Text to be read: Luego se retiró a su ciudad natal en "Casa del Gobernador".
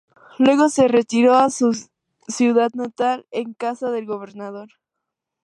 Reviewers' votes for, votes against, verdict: 4, 0, accepted